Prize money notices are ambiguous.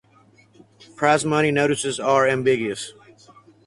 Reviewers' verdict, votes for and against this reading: accepted, 4, 0